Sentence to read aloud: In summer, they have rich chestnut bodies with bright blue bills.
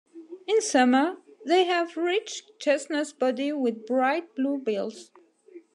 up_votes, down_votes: 2, 1